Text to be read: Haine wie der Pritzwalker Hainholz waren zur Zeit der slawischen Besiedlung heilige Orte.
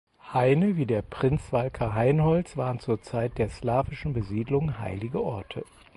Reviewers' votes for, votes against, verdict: 2, 4, rejected